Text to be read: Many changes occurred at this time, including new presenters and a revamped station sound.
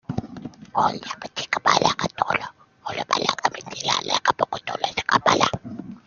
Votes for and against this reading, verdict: 0, 2, rejected